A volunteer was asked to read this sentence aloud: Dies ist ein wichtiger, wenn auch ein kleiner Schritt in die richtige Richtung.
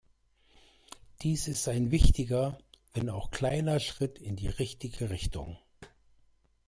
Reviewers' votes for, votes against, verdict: 0, 2, rejected